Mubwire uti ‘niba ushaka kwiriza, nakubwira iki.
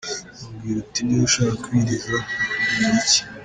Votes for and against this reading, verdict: 1, 3, rejected